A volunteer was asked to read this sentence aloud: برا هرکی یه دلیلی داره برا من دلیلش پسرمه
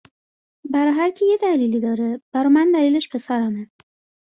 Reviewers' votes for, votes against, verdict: 2, 0, accepted